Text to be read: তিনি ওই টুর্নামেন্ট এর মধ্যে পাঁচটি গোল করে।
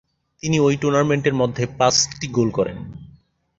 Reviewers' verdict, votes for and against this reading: accepted, 6, 0